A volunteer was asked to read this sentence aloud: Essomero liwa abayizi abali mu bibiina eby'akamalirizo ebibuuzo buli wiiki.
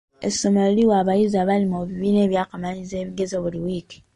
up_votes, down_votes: 2, 0